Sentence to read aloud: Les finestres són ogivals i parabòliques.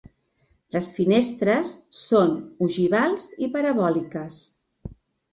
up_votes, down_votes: 2, 0